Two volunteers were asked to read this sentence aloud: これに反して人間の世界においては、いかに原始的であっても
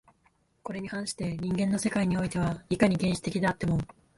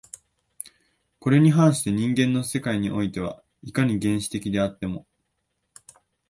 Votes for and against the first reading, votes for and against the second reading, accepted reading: 1, 2, 2, 0, second